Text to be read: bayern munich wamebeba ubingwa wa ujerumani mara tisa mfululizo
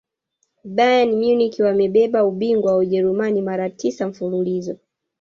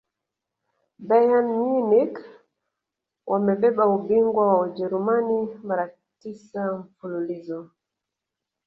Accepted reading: second